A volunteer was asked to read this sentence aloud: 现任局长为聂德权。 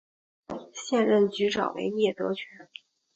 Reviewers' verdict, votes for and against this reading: accepted, 9, 0